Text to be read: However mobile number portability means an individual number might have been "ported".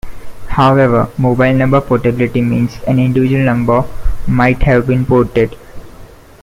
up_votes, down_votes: 2, 0